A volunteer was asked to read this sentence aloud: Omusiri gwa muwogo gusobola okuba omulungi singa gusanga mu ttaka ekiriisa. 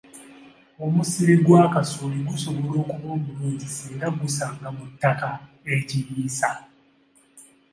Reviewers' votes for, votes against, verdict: 0, 2, rejected